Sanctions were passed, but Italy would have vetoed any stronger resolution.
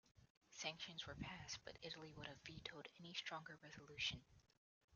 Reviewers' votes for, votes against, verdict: 1, 2, rejected